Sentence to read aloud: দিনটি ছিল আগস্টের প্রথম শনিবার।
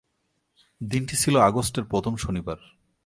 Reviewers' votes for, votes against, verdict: 2, 0, accepted